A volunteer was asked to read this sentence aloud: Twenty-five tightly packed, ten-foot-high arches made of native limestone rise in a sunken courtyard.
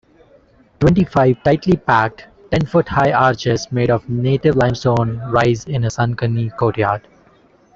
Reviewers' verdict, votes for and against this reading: rejected, 0, 2